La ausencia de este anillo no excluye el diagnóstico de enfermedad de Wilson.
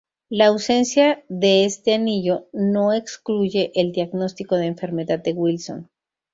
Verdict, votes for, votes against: accepted, 4, 0